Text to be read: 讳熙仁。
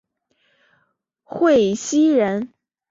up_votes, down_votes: 3, 0